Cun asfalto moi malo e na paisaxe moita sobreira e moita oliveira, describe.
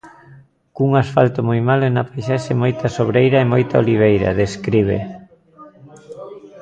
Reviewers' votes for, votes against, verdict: 1, 2, rejected